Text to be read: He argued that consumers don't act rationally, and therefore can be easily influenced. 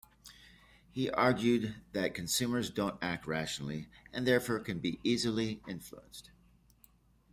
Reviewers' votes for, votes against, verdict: 2, 0, accepted